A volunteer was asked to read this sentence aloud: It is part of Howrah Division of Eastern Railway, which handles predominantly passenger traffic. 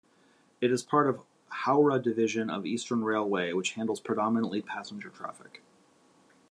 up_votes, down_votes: 2, 0